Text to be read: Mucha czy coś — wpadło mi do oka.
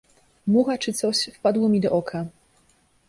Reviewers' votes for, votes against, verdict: 2, 0, accepted